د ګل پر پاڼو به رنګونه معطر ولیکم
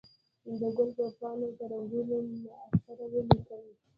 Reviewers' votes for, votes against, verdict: 2, 1, accepted